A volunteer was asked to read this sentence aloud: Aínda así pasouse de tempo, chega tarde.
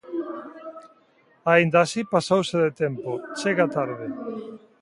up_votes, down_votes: 1, 2